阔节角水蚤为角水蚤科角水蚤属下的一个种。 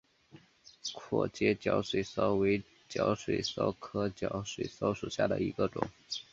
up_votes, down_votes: 5, 0